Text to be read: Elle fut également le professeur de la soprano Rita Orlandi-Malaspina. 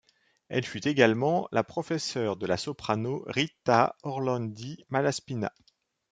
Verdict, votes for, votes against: rejected, 0, 2